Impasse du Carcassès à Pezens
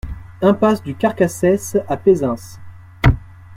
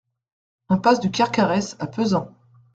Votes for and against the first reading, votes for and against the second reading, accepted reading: 2, 0, 0, 2, first